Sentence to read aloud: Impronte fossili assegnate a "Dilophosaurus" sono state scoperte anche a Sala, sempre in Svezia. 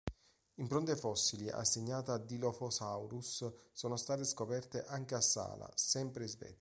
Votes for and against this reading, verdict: 1, 2, rejected